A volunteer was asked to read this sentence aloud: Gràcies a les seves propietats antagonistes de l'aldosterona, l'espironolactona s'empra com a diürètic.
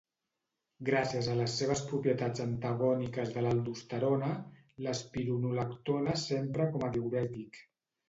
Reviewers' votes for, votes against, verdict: 1, 2, rejected